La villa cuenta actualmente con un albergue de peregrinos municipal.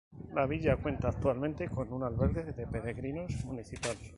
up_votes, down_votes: 0, 2